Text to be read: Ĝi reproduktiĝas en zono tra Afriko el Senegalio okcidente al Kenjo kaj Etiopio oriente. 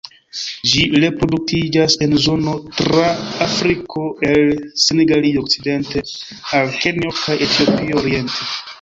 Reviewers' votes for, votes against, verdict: 0, 2, rejected